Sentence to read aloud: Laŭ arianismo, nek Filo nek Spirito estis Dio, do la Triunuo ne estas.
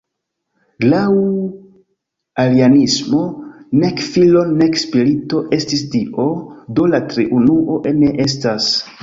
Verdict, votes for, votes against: rejected, 1, 2